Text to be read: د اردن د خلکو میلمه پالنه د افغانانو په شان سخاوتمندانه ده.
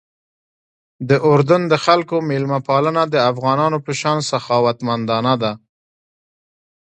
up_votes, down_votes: 2, 0